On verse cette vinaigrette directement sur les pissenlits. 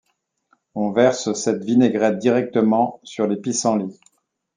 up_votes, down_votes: 2, 0